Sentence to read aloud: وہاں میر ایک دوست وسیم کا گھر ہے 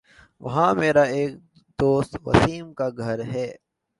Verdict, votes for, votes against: accepted, 2, 0